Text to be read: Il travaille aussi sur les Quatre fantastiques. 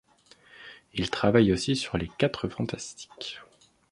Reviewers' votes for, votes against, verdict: 2, 0, accepted